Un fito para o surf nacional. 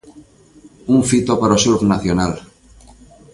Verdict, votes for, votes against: rejected, 1, 2